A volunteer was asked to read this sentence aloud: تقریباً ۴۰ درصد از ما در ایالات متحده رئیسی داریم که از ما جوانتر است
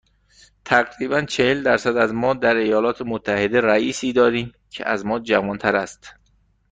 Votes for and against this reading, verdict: 0, 2, rejected